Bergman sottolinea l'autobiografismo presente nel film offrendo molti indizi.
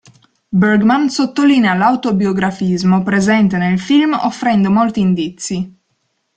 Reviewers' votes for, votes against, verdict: 2, 0, accepted